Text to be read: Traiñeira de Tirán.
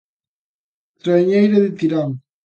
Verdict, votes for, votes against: accepted, 2, 0